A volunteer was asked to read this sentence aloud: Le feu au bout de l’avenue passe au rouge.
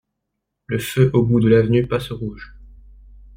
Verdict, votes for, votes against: accepted, 2, 0